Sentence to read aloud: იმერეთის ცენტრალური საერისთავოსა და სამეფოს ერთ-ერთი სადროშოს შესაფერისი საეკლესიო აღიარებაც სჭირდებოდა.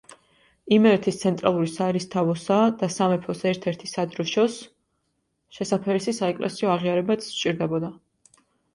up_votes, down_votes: 2, 0